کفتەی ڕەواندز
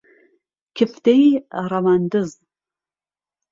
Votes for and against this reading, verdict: 2, 0, accepted